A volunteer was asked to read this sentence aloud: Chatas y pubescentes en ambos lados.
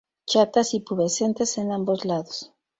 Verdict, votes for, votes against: accepted, 2, 0